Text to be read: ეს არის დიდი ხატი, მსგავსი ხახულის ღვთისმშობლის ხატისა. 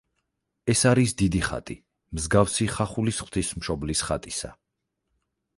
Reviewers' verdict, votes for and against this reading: accepted, 8, 0